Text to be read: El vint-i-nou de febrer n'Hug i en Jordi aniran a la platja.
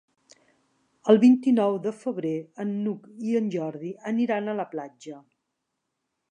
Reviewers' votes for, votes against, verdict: 0, 2, rejected